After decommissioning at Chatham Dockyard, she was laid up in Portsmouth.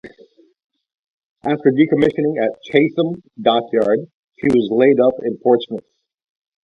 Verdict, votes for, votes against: accepted, 2, 0